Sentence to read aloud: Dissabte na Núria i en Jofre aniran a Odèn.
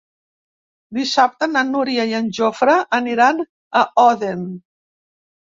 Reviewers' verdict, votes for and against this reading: rejected, 0, 2